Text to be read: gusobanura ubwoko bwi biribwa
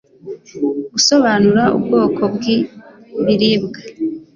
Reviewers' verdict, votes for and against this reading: accepted, 2, 0